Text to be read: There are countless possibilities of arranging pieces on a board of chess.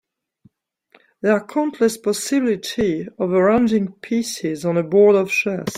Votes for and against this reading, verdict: 0, 2, rejected